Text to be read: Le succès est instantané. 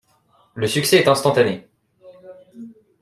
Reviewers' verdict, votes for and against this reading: accepted, 2, 0